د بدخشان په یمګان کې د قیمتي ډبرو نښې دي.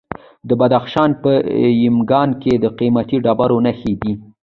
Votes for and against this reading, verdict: 0, 2, rejected